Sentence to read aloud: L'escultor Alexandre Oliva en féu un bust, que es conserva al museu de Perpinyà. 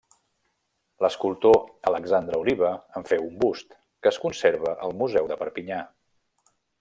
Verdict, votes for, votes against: rejected, 0, 2